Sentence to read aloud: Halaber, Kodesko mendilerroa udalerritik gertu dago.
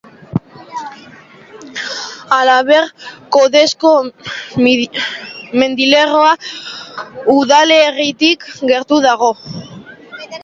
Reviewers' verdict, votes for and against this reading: rejected, 0, 2